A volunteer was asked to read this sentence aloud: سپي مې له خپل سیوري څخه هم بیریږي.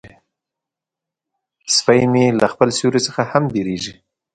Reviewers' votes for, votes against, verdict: 2, 1, accepted